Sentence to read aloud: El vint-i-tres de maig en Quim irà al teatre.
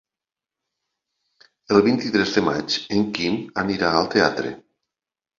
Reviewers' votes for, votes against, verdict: 0, 3, rejected